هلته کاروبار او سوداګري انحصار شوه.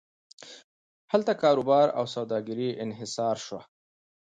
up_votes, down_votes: 2, 0